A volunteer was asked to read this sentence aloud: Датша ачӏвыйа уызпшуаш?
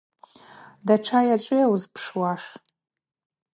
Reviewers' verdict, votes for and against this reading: accepted, 2, 0